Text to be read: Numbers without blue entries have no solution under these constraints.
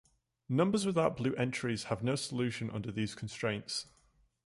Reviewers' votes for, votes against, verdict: 2, 0, accepted